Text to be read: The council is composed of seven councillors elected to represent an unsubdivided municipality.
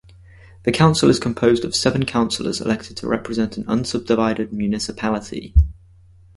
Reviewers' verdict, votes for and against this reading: accepted, 4, 0